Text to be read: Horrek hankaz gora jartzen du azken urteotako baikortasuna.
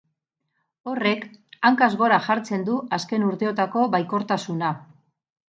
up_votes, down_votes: 2, 0